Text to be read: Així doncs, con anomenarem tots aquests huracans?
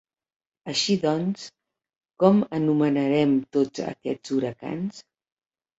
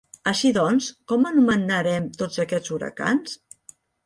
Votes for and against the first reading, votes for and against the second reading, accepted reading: 2, 1, 0, 2, first